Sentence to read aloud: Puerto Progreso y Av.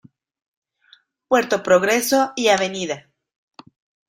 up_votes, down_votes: 1, 2